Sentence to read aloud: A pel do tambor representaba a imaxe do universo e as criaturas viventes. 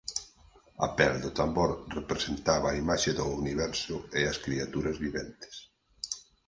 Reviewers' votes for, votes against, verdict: 4, 0, accepted